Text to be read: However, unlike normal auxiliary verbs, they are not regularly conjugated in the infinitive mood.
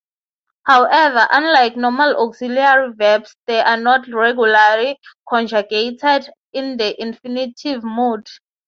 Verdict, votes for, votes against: accepted, 3, 0